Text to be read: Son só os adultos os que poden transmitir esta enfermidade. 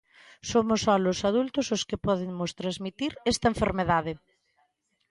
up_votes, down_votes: 0, 2